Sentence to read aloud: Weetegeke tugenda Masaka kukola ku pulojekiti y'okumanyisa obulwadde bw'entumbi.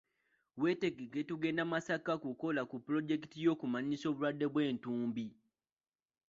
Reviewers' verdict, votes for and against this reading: rejected, 1, 2